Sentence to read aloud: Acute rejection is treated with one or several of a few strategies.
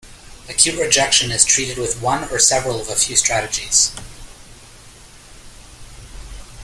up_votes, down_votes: 2, 0